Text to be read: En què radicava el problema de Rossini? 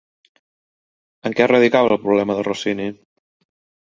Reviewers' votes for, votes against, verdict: 3, 0, accepted